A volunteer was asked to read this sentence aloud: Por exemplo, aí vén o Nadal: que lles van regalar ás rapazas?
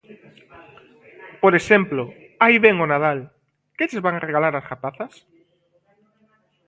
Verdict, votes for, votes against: accepted, 2, 0